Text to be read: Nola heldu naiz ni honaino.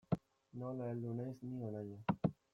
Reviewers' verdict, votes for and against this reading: rejected, 1, 2